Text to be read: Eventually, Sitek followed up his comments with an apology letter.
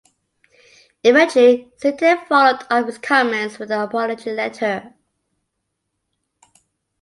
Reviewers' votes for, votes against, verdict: 2, 1, accepted